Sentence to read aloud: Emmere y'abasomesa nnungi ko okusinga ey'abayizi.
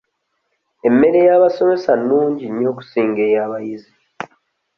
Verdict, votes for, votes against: rejected, 1, 2